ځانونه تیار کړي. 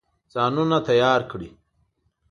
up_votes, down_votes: 2, 0